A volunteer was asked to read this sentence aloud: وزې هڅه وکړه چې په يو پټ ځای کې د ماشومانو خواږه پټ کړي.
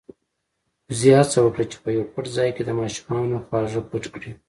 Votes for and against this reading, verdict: 2, 0, accepted